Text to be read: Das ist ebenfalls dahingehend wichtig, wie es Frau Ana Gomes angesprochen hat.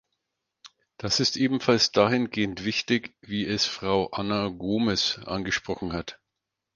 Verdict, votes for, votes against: accepted, 4, 0